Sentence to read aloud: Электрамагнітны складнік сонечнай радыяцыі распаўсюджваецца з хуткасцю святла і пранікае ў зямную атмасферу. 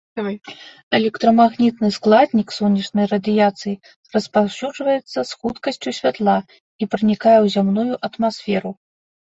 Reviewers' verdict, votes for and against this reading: accepted, 2, 1